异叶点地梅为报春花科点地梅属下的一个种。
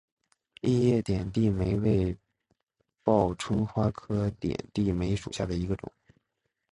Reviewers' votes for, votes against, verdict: 2, 0, accepted